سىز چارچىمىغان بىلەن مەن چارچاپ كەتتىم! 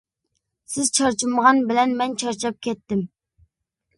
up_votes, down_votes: 2, 0